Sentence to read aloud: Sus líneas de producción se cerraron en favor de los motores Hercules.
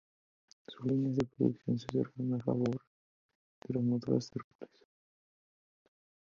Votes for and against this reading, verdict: 0, 2, rejected